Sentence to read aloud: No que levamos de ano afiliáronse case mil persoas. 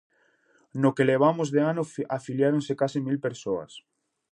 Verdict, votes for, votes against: rejected, 0, 2